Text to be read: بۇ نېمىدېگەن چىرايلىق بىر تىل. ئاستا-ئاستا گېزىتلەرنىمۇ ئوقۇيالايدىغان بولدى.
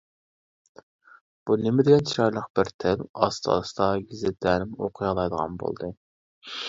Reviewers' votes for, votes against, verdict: 0, 2, rejected